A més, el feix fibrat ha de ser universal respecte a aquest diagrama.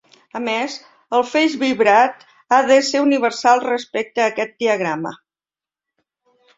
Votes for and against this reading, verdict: 0, 2, rejected